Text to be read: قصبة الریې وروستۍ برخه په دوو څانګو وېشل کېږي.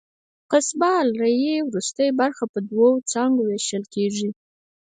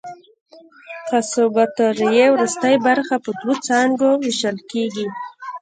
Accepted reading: first